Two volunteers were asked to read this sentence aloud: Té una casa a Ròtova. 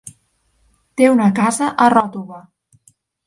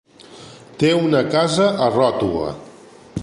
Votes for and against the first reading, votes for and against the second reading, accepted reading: 4, 0, 1, 2, first